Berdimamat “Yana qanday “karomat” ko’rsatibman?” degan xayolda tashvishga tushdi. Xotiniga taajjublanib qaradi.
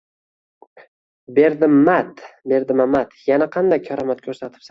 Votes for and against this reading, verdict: 1, 2, rejected